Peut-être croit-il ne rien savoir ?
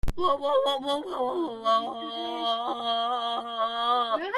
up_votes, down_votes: 0, 2